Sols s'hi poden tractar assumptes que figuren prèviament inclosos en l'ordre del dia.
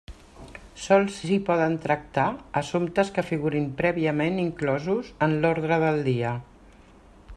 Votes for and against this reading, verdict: 0, 2, rejected